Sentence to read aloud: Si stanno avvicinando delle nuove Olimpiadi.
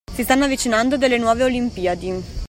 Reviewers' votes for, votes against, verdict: 2, 1, accepted